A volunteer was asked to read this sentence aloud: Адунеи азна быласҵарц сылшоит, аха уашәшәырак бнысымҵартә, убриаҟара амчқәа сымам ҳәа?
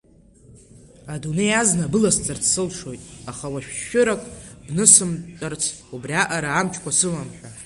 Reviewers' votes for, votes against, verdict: 3, 0, accepted